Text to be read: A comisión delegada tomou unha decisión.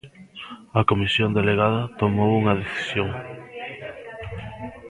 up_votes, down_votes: 1, 2